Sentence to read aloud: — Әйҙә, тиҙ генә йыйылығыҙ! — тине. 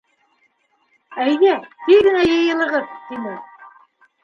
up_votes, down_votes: 3, 1